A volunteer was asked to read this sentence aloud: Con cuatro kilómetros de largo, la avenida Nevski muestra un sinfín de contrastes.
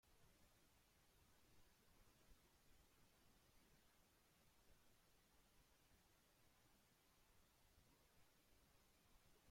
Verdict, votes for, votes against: rejected, 0, 2